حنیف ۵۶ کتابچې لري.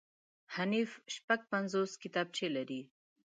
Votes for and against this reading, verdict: 0, 2, rejected